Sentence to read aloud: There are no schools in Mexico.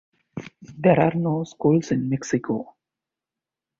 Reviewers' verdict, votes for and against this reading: accepted, 2, 0